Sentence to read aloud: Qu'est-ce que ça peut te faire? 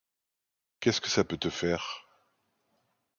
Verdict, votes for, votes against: accepted, 2, 0